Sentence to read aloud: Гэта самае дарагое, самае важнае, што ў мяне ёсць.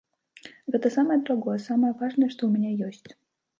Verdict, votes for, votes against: rejected, 1, 2